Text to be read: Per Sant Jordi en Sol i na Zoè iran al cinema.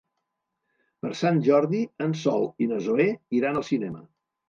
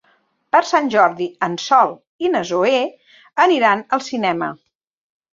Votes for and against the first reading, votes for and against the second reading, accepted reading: 2, 0, 0, 2, first